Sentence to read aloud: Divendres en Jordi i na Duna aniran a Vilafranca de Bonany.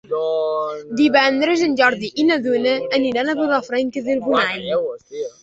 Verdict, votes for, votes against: rejected, 1, 2